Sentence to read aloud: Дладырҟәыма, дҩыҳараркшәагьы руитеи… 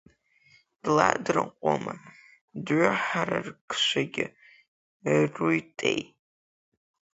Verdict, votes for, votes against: rejected, 0, 2